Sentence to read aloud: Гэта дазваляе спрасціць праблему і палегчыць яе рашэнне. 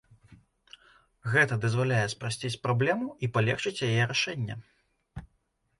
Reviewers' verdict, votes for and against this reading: accepted, 2, 0